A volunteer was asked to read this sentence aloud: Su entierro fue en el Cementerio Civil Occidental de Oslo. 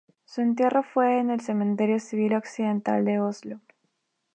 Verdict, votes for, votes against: accepted, 2, 0